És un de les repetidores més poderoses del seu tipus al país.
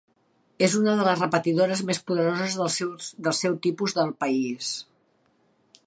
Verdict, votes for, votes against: rejected, 0, 2